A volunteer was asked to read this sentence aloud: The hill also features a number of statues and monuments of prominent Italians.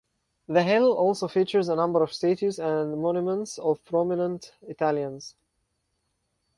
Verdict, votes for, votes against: accepted, 4, 0